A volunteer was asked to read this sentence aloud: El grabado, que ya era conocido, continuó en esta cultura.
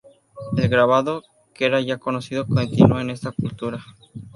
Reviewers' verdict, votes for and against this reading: rejected, 0, 2